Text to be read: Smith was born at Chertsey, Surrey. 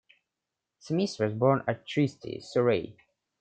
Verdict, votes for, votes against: rejected, 1, 2